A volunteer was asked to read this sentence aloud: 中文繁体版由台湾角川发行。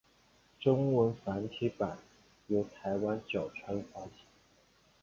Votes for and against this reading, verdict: 2, 0, accepted